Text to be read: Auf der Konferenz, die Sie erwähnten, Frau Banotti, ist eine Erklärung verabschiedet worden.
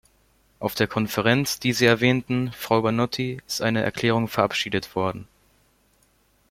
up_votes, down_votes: 2, 0